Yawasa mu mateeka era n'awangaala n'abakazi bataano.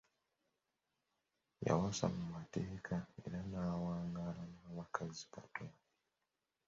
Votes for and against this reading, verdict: 0, 3, rejected